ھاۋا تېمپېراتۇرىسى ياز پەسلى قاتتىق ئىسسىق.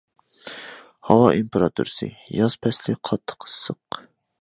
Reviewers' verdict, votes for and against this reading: accepted, 2, 0